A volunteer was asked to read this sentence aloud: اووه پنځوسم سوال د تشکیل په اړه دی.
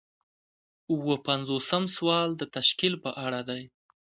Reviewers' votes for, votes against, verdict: 2, 0, accepted